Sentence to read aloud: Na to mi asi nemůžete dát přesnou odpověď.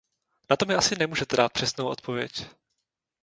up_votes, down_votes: 0, 2